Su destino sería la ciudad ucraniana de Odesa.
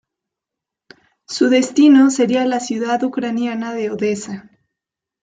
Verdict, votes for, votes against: rejected, 1, 2